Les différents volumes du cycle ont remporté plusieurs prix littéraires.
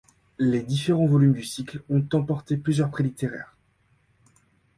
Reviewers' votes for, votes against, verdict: 2, 1, accepted